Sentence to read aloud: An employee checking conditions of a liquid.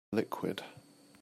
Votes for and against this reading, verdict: 0, 2, rejected